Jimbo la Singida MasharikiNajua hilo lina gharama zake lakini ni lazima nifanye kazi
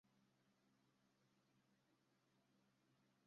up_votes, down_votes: 0, 2